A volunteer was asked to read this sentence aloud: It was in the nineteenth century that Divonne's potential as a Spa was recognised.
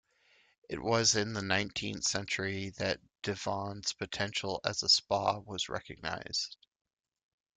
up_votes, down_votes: 2, 0